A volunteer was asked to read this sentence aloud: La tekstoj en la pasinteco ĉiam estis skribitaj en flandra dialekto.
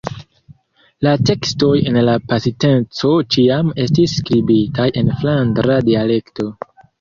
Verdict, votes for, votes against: accepted, 2, 0